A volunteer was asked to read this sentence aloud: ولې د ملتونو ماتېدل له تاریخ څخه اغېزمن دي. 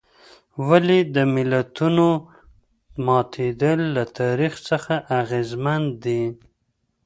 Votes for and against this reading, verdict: 2, 0, accepted